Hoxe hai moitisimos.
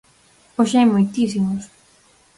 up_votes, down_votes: 4, 0